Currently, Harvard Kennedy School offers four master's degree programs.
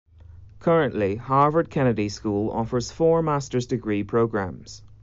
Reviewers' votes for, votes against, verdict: 2, 0, accepted